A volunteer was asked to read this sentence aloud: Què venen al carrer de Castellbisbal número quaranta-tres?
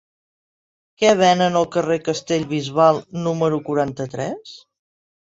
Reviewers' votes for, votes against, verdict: 0, 2, rejected